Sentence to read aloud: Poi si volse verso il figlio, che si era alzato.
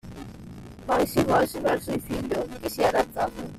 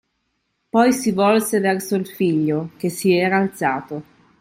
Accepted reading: second